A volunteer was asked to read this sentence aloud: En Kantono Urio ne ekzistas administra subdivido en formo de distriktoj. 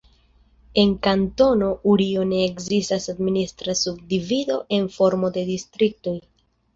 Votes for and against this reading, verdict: 0, 2, rejected